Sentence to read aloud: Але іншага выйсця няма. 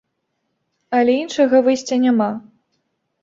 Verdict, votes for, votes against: accepted, 2, 0